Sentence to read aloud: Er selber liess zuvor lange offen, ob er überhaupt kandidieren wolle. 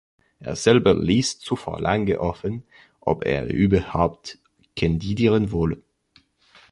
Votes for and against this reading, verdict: 2, 1, accepted